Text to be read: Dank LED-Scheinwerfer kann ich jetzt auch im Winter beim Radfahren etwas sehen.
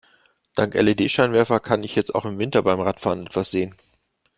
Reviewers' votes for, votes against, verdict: 2, 0, accepted